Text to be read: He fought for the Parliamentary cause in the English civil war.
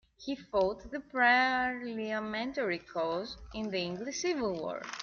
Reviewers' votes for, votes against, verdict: 0, 2, rejected